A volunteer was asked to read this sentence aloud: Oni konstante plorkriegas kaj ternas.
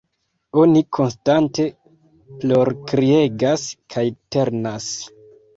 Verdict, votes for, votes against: rejected, 1, 2